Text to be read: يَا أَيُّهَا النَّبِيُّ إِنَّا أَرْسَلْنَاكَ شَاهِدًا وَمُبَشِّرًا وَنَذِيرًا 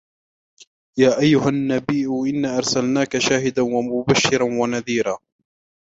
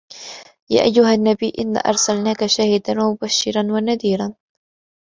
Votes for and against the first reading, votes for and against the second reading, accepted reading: 1, 2, 2, 0, second